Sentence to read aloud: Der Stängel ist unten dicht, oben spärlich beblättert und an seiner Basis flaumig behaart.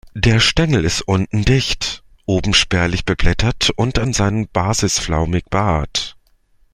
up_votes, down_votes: 0, 2